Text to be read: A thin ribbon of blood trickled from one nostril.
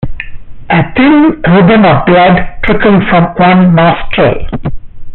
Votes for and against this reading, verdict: 0, 2, rejected